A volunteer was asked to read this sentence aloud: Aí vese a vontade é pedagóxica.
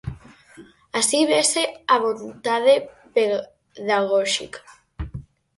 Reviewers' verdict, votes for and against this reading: rejected, 0, 4